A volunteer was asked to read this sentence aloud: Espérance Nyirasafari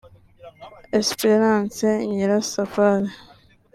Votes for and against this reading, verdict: 2, 3, rejected